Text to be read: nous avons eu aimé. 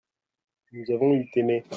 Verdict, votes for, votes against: rejected, 1, 2